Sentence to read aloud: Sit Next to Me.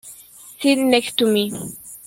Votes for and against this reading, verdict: 0, 2, rejected